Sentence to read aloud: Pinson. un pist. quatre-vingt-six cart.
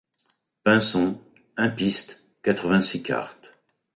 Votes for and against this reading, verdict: 2, 0, accepted